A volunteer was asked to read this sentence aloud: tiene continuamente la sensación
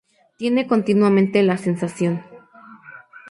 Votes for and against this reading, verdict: 4, 0, accepted